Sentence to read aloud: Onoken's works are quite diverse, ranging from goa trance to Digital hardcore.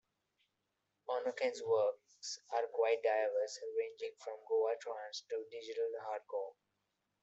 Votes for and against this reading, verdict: 2, 0, accepted